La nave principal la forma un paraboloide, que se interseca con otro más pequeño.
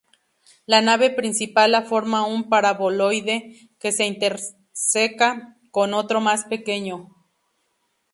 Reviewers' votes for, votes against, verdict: 0, 2, rejected